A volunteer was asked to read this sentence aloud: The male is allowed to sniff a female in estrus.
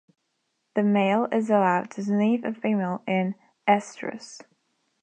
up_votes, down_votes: 0, 2